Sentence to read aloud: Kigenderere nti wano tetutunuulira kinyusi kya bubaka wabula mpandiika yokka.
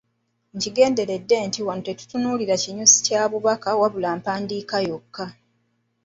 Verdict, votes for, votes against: rejected, 1, 2